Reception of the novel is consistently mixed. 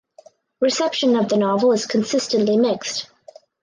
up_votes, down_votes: 4, 0